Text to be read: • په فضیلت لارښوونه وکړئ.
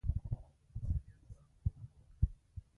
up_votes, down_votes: 0, 2